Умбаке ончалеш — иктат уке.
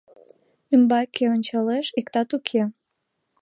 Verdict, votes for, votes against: rejected, 1, 2